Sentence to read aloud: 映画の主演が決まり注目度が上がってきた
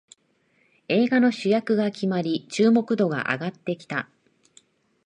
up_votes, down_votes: 0, 2